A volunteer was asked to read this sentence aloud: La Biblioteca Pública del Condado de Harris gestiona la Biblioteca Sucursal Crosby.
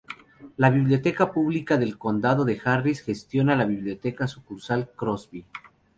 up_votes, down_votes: 2, 0